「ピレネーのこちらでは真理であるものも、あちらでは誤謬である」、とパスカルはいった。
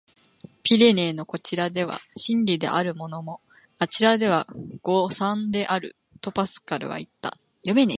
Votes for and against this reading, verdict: 0, 2, rejected